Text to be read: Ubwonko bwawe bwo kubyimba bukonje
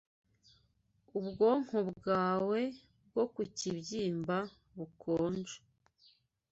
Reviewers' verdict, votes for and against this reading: rejected, 0, 2